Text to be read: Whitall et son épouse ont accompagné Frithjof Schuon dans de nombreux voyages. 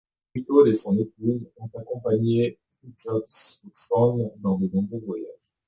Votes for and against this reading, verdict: 1, 2, rejected